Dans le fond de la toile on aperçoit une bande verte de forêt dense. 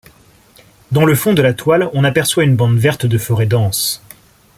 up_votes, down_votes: 2, 0